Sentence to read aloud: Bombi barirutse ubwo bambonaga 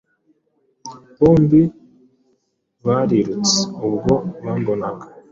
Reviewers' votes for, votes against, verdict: 2, 0, accepted